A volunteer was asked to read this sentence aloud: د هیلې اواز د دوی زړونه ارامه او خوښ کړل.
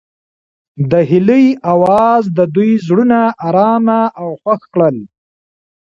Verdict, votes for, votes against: accepted, 2, 1